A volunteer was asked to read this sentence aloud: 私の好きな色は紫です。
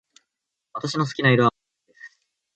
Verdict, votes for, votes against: rejected, 1, 2